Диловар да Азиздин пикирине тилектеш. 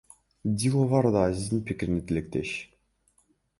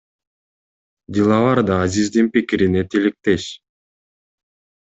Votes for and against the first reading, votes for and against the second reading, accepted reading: 0, 2, 2, 0, second